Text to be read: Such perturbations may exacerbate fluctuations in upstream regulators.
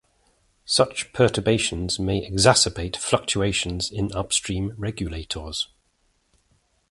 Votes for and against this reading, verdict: 2, 1, accepted